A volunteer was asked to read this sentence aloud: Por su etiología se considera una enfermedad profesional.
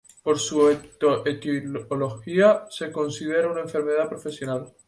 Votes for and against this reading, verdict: 0, 2, rejected